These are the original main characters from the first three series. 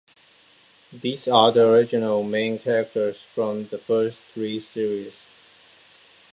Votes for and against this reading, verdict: 2, 0, accepted